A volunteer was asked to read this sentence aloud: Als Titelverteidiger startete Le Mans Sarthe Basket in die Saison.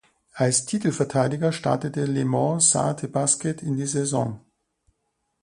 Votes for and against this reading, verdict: 3, 0, accepted